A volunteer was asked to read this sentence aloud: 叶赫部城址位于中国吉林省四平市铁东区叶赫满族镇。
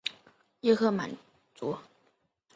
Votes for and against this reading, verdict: 0, 4, rejected